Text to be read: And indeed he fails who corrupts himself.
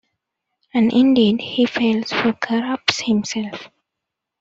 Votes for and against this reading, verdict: 1, 2, rejected